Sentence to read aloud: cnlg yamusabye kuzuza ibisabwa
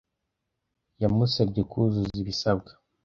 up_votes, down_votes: 1, 2